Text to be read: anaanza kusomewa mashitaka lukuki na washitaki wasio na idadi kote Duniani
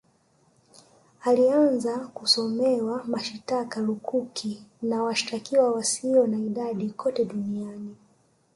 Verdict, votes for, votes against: rejected, 0, 2